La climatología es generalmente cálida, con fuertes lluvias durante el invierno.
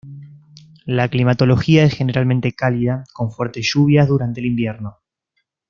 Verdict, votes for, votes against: accepted, 2, 0